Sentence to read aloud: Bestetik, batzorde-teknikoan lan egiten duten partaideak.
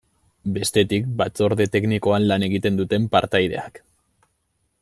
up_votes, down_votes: 2, 0